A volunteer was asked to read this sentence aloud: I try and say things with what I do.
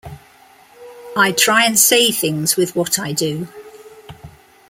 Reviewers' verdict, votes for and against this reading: accepted, 2, 0